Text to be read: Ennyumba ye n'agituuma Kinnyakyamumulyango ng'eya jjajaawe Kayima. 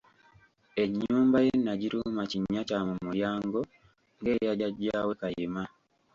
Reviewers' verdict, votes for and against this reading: accepted, 2, 0